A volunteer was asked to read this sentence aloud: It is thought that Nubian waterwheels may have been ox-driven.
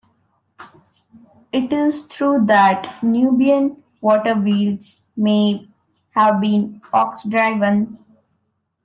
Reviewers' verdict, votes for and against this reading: rejected, 1, 2